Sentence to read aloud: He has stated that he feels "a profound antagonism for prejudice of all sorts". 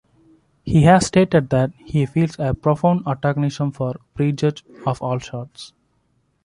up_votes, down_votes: 0, 2